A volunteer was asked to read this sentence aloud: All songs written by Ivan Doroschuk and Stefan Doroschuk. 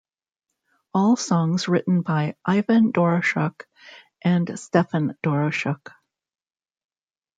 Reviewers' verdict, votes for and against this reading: accepted, 2, 1